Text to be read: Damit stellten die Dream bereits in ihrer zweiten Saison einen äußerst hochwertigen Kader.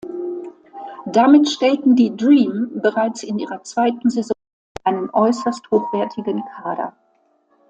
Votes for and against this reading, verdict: 1, 2, rejected